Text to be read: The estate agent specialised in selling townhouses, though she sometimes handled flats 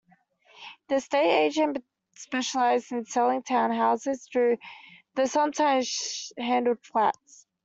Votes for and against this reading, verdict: 0, 2, rejected